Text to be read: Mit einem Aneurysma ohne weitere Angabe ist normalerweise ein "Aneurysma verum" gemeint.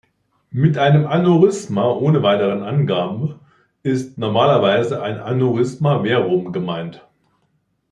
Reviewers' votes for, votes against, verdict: 0, 2, rejected